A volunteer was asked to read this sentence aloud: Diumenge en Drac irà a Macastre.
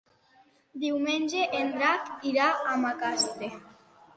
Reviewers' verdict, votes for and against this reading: accepted, 2, 0